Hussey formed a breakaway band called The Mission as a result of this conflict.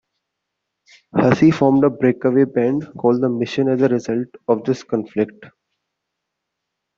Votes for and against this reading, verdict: 1, 2, rejected